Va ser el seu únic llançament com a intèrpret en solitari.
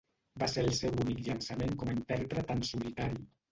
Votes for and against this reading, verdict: 0, 2, rejected